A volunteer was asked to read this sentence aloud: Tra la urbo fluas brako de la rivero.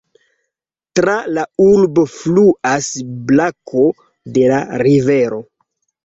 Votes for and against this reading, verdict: 1, 2, rejected